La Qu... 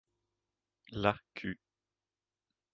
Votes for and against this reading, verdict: 1, 2, rejected